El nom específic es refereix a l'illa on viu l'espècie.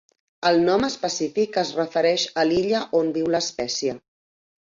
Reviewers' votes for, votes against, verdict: 3, 0, accepted